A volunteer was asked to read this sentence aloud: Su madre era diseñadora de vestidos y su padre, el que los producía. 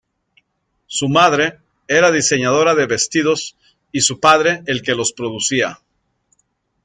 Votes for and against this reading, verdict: 2, 1, accepted